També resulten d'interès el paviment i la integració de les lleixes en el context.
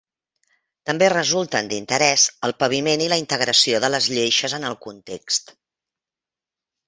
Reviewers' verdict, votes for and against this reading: accepted, 2, 0